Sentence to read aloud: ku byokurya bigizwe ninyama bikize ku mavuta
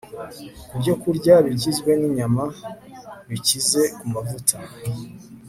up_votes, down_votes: 4, 0